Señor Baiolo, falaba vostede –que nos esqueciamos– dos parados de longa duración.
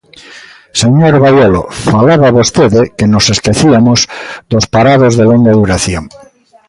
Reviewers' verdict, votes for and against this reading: rejected, 0, 2